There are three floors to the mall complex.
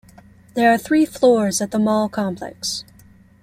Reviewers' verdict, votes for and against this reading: rejected, 1, 2